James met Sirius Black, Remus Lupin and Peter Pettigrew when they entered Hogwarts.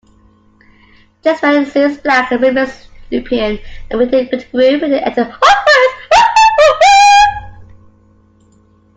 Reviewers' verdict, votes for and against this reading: rejected, 0, 2